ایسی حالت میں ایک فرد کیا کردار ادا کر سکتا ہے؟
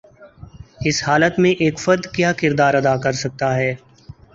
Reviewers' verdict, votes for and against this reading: rejected, 0, 2